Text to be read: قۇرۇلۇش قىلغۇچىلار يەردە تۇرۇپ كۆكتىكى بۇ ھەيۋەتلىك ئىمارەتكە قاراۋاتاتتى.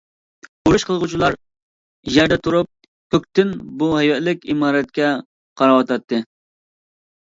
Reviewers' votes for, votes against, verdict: 0, 2, rejected